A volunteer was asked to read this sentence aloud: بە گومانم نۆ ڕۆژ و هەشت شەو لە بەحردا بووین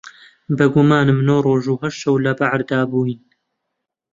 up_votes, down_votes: 0, 2